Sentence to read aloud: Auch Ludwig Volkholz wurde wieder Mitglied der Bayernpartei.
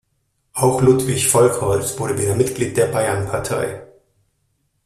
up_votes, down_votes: 2, 0